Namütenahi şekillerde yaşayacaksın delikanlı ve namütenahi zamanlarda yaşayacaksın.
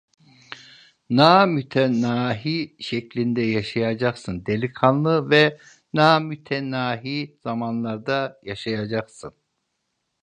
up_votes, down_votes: 0, 2